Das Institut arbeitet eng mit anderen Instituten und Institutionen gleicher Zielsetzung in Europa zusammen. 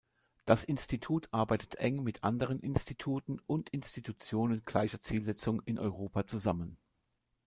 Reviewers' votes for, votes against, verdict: 2, 0, accepted